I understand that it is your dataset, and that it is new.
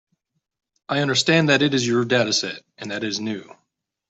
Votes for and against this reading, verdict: 1, 2, rejected